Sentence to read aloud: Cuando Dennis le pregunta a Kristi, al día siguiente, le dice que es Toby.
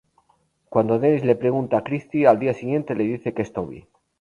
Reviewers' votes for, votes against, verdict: 0, 2, rejected